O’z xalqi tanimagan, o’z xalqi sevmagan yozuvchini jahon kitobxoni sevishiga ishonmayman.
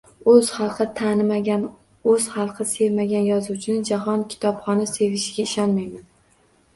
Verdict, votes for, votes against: accepted, 2, 0